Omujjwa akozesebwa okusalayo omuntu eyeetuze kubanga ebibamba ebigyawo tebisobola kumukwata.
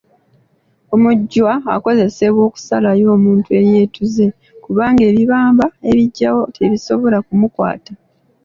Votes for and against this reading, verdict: 2, 0, accepted